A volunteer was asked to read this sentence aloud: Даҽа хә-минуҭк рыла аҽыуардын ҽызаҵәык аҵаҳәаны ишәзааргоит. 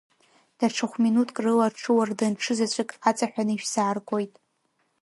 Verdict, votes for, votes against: accepted, 2, 0